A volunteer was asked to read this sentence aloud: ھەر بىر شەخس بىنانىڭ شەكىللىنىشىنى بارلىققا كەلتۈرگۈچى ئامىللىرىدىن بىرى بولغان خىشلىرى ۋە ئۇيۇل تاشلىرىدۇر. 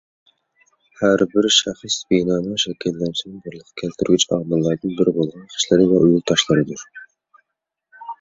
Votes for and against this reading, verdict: 2, 0, accepted